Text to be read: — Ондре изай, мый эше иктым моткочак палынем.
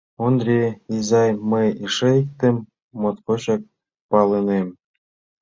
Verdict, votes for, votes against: accepted, 2, 0